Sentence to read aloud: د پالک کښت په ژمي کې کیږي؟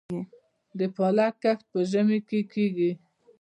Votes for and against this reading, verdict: 1, 2, rejected